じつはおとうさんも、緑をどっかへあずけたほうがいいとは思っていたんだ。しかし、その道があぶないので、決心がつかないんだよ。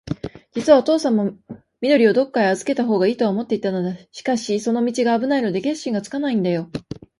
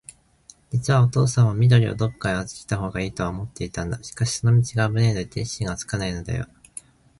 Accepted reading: second